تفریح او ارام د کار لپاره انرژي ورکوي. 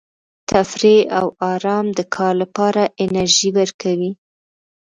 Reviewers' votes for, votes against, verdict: 1, 2, rejected